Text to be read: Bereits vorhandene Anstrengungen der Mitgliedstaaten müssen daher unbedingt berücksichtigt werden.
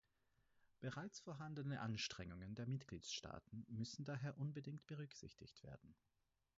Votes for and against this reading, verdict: 0, 4, rejected